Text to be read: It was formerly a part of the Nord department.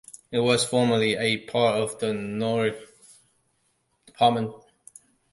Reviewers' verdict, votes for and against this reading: rejected, 1, 2